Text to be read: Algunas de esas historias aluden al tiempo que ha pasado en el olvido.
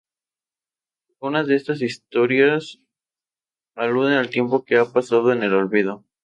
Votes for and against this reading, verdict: 0, 2, rejected